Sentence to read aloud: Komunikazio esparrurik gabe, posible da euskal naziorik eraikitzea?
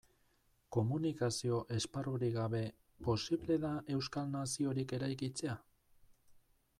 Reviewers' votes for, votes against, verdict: 2, 0, accepted